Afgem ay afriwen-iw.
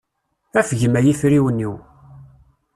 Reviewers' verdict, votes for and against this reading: accepted, 2, 0